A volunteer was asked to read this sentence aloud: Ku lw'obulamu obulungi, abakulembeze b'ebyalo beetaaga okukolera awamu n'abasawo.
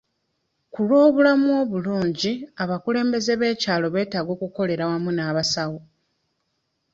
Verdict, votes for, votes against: rejected, 0, 2